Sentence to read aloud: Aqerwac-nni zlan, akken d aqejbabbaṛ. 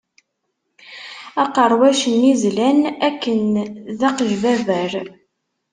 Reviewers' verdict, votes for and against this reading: rejected, 0, 2